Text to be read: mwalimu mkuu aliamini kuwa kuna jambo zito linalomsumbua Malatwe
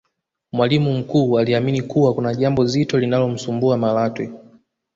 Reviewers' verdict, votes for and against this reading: rejected, 1, 2